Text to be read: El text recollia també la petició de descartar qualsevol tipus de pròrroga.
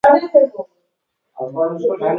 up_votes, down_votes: 1, 2